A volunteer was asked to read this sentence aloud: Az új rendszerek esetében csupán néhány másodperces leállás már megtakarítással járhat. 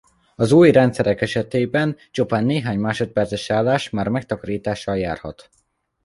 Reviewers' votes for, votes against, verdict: 2, 1, accepted